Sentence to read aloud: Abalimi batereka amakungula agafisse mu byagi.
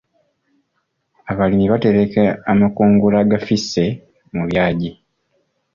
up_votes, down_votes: 2, 0